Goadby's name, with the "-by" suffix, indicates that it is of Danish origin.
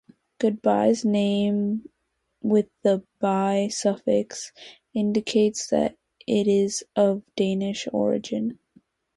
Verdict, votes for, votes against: rejected, 2, 2